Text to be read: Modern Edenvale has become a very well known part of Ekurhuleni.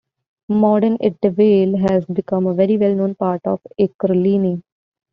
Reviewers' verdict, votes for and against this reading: rejected, 1, 2